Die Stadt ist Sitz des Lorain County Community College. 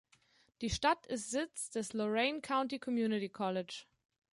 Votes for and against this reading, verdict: 2, 0, accepted